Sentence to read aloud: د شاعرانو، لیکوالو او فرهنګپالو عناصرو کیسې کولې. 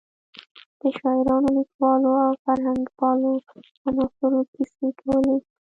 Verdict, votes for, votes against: accepted, 2, 0